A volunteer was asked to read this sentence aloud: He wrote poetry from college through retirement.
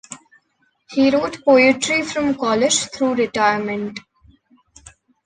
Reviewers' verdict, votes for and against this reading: accepted, 2, 0